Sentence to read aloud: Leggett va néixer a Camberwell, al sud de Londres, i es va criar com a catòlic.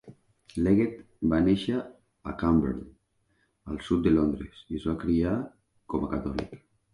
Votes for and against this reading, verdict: 2, 1, accepted